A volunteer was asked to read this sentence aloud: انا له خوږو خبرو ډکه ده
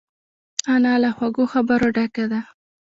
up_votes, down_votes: 0, 2